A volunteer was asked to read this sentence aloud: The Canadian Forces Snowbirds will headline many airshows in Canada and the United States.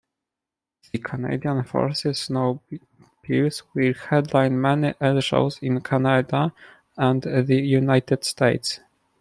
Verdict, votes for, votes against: rejected, 0, 2